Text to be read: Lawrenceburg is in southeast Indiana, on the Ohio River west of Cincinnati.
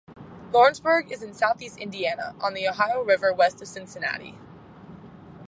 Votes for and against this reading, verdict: 4, 0, accepted